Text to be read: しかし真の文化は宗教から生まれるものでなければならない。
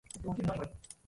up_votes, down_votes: 0, 2